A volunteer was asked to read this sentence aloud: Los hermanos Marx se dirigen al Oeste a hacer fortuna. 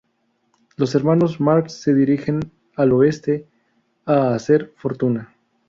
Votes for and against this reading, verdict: 2, 2, rejected